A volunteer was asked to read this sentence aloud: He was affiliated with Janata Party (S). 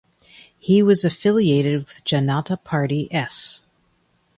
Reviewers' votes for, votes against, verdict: 2, 0, accepted